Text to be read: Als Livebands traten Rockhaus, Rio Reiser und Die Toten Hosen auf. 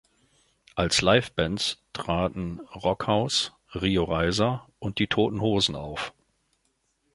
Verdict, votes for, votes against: accepted, 2, 0